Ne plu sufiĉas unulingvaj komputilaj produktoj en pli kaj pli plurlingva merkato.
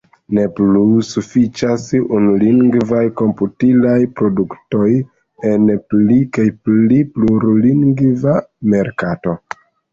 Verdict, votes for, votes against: accepted, 2, 1